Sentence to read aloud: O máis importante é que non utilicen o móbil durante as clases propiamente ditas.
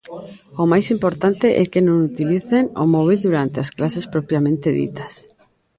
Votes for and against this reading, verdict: 1, 2, rejected